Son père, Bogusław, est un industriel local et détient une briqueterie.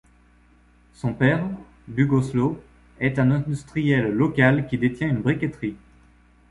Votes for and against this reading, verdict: 1, 2, rejected